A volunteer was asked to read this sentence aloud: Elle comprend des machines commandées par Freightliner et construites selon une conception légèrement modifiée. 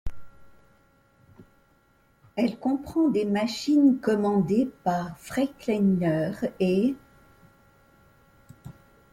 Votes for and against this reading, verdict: 0, 2, rejected